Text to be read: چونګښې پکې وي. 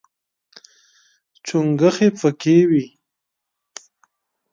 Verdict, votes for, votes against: accepted, 2, 0